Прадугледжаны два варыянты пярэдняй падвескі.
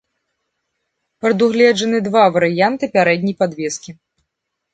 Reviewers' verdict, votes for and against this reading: accepted, 2, 0